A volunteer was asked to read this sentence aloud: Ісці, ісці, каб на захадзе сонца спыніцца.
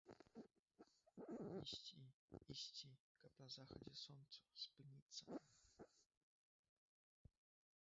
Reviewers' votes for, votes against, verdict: 1, 2, rejected